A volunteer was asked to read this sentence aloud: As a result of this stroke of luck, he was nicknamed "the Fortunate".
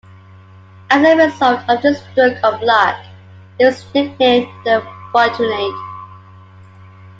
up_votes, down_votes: 2, 1